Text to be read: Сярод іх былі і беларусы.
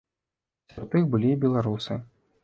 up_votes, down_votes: 0, 2